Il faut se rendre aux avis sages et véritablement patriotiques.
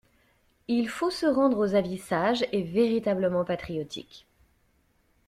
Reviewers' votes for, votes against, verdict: 2, 0, accepted